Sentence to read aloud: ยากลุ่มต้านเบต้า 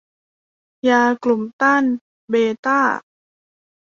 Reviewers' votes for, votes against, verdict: 2, 0, accepted